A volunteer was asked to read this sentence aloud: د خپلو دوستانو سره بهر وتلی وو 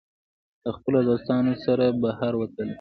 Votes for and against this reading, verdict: 1, 2, rejected